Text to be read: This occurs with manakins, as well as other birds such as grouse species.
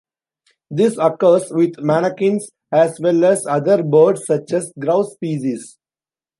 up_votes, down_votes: 2, 0